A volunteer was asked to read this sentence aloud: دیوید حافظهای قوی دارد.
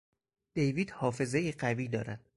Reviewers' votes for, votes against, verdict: 4, 0, accepted